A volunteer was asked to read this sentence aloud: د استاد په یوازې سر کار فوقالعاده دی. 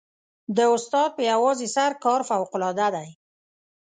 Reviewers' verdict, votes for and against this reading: accepted, 2, 0